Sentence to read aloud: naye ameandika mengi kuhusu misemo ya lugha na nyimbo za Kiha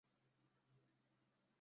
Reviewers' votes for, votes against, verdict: 0, 2, rejected